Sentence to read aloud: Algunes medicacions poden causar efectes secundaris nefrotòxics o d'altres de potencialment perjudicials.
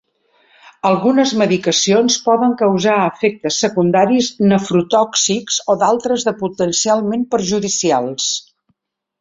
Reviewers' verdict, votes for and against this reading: accepted, 5, 0